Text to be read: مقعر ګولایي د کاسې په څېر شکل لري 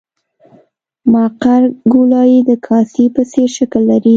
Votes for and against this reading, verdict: 2, 0, accepted